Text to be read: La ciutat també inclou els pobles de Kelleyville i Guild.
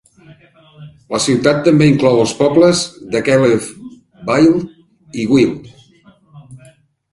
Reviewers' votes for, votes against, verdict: 0, 2, rejected